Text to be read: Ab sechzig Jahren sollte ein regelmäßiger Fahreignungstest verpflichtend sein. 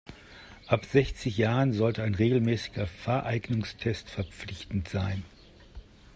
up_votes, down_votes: 3, 0